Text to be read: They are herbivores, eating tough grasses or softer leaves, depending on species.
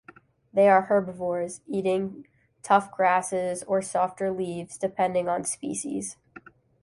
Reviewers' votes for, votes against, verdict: 2, 0, accepted